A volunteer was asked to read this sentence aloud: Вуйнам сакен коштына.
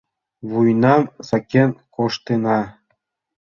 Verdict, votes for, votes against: accepted, 2, 0